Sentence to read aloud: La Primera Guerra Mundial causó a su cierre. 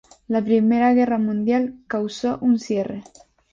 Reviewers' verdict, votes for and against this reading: rejected, 0, 2